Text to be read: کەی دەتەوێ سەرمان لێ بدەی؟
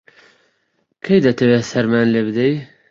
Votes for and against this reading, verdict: 2, 0, accepted